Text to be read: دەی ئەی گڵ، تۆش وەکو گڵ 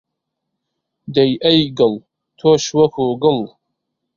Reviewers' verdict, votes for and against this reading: accepted, 2, 0